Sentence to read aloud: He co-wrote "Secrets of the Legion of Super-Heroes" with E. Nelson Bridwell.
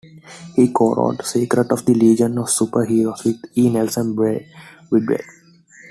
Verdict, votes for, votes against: rejected, 1, 2